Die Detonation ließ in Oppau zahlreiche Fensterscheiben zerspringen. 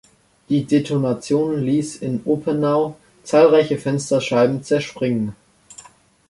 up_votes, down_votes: 0, 2